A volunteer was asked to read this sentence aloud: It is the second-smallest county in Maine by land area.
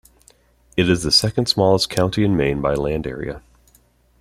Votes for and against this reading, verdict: 2, 0, accepted